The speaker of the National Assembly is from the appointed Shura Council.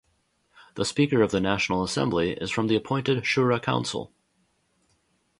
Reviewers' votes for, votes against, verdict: 2, 0, accepted